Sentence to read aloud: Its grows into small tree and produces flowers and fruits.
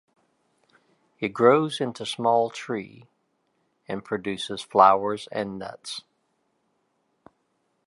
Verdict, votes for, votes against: rejected, 1, 2